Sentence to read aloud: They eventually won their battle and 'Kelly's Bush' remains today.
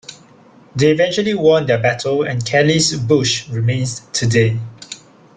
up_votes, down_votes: 0, 2